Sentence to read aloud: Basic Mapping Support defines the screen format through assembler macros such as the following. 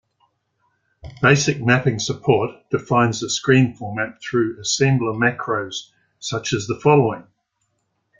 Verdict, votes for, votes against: accepted, 2, 1